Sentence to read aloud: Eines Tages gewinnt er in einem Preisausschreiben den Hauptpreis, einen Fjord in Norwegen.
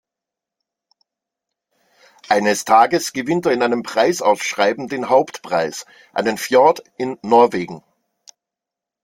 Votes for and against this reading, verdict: 2, 0, accepted